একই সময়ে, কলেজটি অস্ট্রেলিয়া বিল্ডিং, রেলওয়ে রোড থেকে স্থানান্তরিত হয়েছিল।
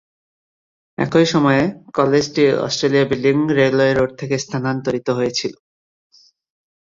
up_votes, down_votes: 1, 2